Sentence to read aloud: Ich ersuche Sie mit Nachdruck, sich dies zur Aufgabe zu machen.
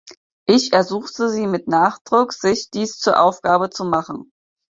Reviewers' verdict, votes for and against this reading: rejected, 0, 4